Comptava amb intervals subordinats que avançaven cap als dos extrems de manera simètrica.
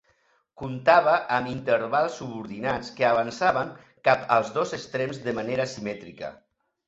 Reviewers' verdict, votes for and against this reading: accepted, 2, 0